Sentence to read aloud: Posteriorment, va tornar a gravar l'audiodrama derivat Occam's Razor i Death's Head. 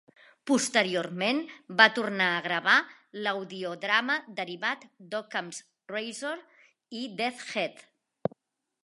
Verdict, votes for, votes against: rejected, 1, 2